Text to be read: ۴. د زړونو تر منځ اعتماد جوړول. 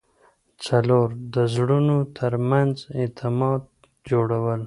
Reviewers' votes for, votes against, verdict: 0, 2, rejected